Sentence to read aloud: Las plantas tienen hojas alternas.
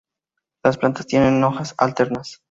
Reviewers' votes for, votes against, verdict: 2, 0, accepted